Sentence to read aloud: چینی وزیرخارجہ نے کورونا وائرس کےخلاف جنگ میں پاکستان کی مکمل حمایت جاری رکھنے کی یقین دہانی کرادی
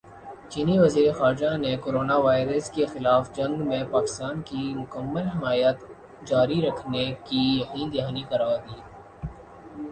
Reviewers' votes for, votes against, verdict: 2, 0, accepted